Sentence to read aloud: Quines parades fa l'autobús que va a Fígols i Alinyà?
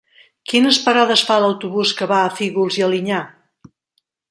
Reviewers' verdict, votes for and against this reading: accepted, 3, 0